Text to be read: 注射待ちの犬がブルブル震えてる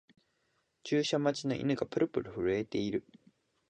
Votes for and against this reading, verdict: 2, 0, accepted